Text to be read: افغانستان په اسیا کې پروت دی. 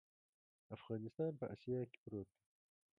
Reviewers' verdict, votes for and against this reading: accepted, 3, 0